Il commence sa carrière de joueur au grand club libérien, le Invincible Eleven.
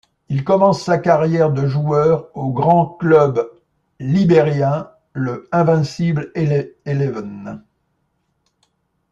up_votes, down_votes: 0, 2